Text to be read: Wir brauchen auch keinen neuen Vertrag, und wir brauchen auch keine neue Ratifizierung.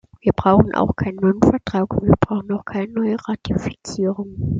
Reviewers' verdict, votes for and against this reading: accepted, 2, 0